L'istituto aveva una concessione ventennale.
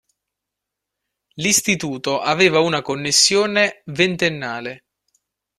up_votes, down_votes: 1, 2